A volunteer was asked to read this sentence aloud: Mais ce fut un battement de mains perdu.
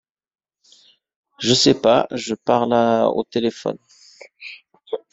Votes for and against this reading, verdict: 0, 2, rejected